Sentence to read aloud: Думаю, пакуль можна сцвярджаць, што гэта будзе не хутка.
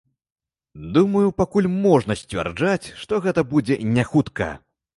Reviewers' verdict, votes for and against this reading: accepted, 2, 0